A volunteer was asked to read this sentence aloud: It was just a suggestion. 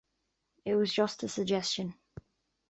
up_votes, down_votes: 2, 0